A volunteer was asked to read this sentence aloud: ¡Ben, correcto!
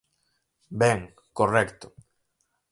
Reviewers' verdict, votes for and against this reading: accepted, 4, 0